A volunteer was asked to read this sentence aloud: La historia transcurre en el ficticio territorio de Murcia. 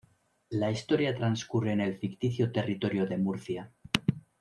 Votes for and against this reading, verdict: 2, 0, accepted